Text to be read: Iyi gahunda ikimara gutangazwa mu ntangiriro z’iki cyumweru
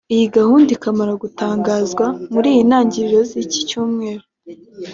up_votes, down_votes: 2, 0